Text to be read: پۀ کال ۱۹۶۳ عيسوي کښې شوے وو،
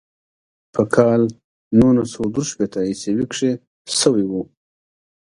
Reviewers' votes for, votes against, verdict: 0, 2, rejected